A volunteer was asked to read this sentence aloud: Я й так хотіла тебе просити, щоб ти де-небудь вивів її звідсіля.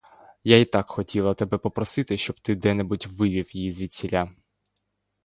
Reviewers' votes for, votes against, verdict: 0, 2, rejected